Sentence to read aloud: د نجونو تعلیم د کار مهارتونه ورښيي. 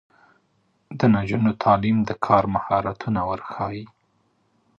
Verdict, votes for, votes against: accepted, 2, 1